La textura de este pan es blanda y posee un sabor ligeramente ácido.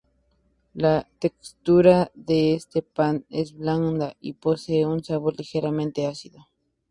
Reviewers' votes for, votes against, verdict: 2, 0, accepted